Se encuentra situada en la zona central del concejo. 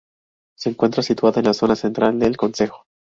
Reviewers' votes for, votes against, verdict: 2, 0, accepted